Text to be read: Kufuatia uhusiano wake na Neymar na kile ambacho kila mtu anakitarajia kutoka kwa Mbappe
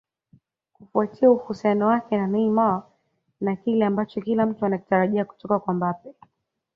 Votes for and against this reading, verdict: 2, 0, accepted